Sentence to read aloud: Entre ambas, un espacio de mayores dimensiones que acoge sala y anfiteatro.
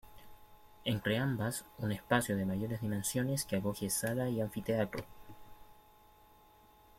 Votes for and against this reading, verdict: 1, 2, rejected